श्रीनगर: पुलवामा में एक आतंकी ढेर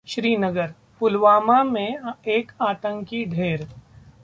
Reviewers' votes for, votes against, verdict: 2, 1, accepted